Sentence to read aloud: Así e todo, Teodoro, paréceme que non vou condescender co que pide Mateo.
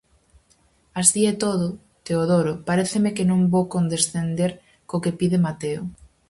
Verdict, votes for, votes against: accepted, 4, 0